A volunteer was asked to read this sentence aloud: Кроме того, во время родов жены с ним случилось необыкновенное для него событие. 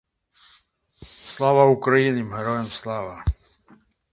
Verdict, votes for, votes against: rejected, 0, 2